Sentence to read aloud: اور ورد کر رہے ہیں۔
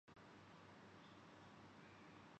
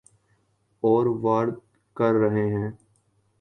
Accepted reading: second